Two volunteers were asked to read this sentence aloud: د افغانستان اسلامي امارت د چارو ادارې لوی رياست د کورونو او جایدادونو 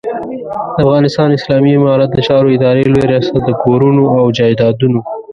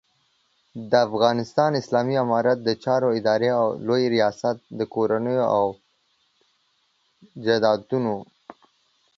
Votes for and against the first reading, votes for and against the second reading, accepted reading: 0, 2, 2, 1, second